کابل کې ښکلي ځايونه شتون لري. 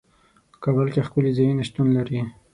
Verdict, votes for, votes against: accepted, 6, 0